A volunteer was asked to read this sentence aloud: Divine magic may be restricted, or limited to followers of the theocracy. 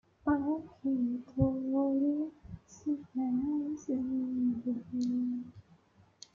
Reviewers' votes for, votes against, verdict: 0, 2, rejected